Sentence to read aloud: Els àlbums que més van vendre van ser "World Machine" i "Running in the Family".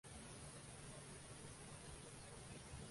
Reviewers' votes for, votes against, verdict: 0, 2, rejected